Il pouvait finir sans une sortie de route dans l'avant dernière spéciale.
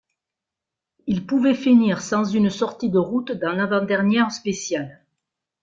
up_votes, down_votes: 2, 0